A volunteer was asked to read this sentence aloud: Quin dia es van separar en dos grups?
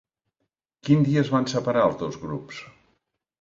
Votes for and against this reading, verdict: 1, 2, rejected